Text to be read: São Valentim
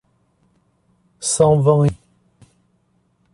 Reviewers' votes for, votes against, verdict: 0, 2, rejected